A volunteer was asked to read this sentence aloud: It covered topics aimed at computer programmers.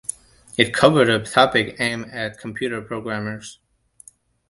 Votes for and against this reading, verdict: 1, 2, rejected